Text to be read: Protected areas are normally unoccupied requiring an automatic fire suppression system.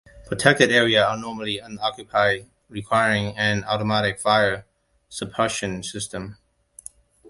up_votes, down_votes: 1, 2